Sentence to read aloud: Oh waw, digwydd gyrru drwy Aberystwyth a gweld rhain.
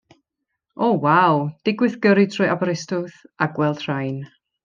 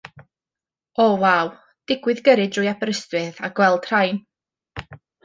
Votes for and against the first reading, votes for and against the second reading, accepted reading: 1, 2, 2, 0, second